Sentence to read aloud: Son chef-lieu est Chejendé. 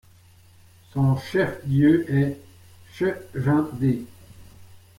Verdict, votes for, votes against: accepted, 2, 1